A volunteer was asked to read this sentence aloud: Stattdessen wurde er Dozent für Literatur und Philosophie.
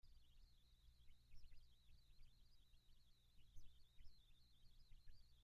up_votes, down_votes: 0, 2